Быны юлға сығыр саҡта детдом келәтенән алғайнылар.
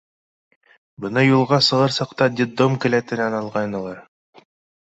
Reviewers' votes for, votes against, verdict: 2, 3, rejected